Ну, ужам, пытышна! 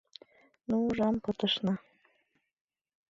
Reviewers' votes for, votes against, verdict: 2, 0, accepted